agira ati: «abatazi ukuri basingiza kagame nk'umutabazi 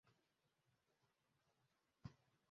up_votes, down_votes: 0, 2